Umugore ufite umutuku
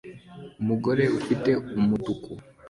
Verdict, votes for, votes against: accepted, 2, 0